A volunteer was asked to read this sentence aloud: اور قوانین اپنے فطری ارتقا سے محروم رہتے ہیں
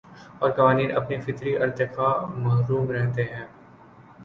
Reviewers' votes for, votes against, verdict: 3, 3, rejected